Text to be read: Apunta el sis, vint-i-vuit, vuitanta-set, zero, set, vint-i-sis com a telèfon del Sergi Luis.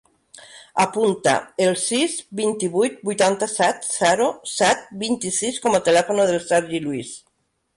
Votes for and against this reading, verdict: 1, 2, rejected